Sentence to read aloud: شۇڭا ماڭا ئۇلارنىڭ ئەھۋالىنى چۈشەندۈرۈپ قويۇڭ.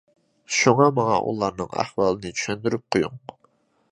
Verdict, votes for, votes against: accepted, 2, 0